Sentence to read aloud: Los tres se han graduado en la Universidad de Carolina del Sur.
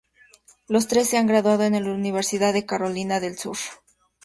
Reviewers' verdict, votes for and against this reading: rejected, 0, 2